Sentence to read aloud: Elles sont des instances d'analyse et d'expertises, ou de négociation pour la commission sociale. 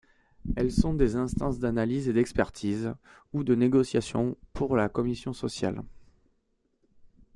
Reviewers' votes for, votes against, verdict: 2, 0, accepted